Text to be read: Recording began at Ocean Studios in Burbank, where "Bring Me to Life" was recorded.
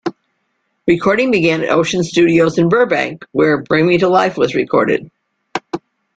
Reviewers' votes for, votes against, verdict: 2, 0, accepted